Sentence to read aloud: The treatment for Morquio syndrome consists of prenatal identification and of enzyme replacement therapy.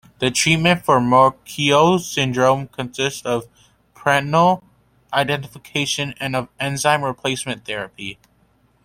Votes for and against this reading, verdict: 1, 2, rejected